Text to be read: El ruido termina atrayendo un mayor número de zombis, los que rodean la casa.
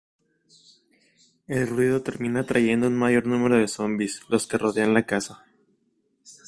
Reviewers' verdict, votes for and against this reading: accepted, 2, 0